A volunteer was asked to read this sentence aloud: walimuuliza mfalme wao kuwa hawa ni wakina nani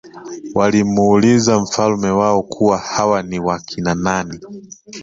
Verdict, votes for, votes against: accepted, 2, 0